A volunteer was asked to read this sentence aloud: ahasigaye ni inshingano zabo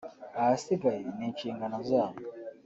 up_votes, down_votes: 1, 2